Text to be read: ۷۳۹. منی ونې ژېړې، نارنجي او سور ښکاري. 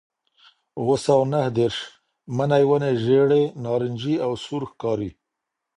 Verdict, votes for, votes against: rejected, 0, 2